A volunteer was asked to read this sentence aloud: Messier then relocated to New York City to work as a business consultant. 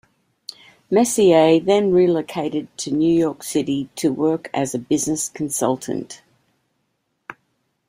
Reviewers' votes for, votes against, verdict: 2, 0, accepted